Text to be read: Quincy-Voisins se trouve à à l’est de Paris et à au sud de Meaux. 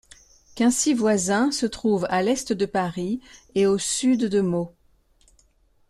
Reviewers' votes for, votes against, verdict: 1, 2, rejected